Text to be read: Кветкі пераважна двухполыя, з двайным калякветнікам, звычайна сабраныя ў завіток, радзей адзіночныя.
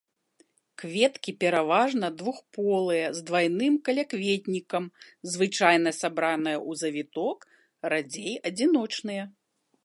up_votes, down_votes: 2, 0